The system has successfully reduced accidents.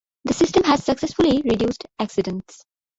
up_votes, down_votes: 2, 0